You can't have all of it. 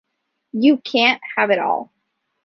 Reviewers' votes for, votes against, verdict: 0, 2, rejected